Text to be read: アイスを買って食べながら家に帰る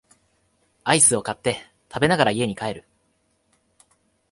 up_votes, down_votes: 3, 0